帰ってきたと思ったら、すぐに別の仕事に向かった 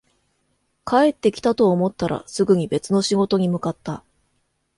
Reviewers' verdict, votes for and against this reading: accepted, 3, 0